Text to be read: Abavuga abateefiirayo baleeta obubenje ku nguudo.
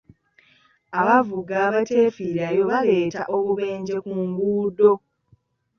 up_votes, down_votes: 2, 0